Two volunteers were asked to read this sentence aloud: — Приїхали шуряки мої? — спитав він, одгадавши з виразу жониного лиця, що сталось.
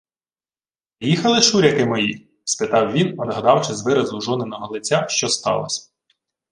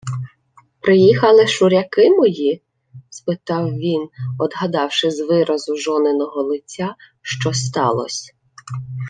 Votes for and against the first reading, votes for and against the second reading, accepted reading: 0, 2, 2, 0, second